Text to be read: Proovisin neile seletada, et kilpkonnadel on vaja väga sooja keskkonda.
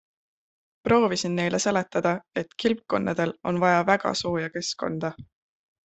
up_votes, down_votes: 2, 0